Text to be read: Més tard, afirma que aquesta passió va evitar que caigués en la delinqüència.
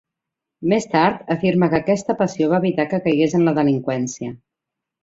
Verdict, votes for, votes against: accepted, 2, 0